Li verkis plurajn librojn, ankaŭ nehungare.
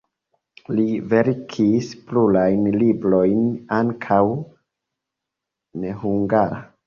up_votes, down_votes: 2, 1